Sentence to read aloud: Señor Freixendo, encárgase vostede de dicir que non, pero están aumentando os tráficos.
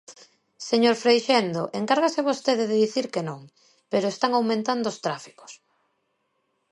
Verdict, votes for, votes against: accepted, 2, 0